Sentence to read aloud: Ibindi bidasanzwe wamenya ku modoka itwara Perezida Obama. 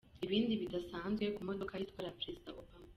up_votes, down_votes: 1, 2